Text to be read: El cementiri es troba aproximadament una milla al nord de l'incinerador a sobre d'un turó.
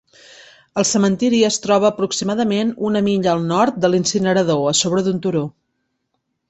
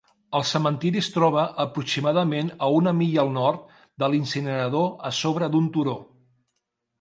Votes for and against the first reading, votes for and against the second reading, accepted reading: 3, 0, 0, 2, first